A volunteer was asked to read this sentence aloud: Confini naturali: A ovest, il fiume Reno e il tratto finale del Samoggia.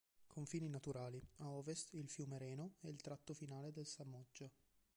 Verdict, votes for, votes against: accepted, 2, 0